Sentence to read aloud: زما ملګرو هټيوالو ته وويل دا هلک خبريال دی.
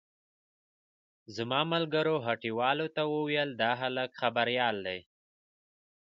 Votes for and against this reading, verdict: 0, 2, rejected